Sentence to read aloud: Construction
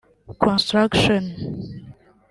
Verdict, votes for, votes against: accepted, 2, 0